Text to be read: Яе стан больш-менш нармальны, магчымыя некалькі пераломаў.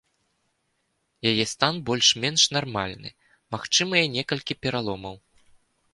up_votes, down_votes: 2, 0